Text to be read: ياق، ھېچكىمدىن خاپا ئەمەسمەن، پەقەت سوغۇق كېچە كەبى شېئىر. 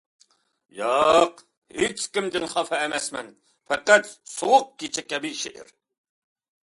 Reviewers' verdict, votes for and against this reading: accepted, 2, 0